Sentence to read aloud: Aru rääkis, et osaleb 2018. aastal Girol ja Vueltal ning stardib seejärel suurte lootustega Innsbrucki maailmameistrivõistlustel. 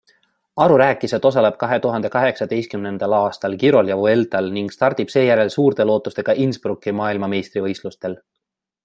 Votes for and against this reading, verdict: 0, 2, rejected